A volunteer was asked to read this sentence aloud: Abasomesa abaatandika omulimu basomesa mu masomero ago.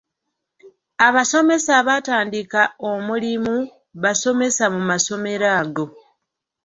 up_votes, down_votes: 1, 2